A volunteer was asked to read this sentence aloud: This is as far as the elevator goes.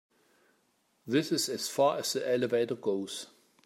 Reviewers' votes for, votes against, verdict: 2, 0, accepted